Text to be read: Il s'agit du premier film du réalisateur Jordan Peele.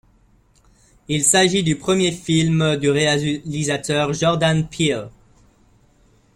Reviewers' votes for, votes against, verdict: 1, 2, rejected